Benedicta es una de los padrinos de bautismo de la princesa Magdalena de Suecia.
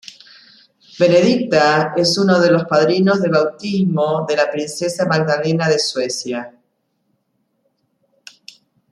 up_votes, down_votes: 0, 2